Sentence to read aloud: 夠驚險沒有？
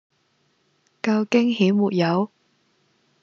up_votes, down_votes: 2, 0